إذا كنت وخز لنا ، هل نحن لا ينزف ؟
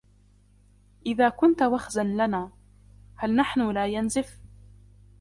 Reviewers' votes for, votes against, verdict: 0, 2, rejected